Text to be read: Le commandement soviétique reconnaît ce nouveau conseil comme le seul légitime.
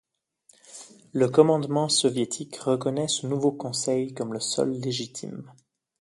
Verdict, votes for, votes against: accepted, 2, 0